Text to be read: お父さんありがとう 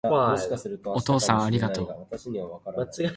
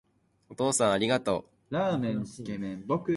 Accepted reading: first